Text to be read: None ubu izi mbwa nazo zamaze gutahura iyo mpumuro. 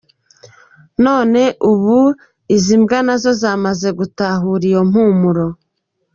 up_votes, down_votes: 2, 1